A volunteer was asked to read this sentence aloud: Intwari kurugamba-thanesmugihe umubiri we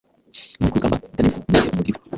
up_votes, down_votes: 1, 2